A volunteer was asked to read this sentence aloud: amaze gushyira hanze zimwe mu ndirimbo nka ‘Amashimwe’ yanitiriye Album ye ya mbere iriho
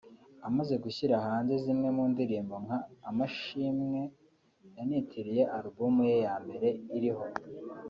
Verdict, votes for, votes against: accepted, 2, 0